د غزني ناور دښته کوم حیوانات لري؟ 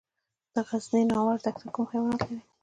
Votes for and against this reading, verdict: 2, 0, accepted